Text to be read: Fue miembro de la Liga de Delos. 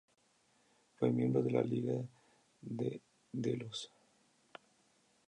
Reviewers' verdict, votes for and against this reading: accepted, 2, 0